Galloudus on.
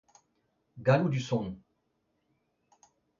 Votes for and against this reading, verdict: 2, 0, accepted